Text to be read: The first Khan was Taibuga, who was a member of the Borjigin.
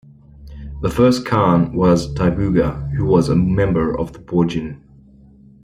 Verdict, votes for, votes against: accepted, 2, 0